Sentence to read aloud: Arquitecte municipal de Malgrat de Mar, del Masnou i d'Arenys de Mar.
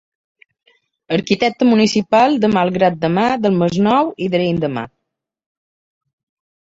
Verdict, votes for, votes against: rejected, 1, 2